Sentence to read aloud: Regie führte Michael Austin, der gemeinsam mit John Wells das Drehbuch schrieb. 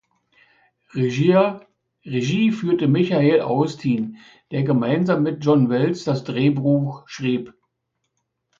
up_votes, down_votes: 0, 2